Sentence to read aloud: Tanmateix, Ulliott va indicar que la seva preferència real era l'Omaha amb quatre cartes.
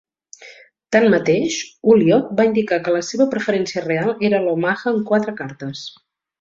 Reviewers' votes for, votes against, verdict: 2, 0, accepted